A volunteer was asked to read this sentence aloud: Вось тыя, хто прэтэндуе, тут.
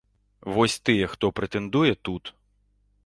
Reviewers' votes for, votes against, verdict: 2, 0, accepted